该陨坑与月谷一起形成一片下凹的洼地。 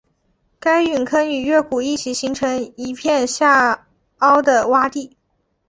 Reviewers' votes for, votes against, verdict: 6, 0, accepted